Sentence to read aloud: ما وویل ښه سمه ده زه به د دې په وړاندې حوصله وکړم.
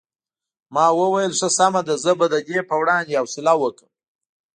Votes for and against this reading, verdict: 2, 0, accepted